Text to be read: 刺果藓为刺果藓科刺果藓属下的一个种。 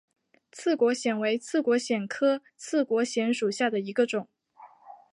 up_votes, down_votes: 2, 1